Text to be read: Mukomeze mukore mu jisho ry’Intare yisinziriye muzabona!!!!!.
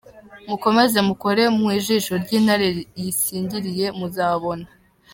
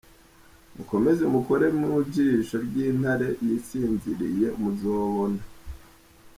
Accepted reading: second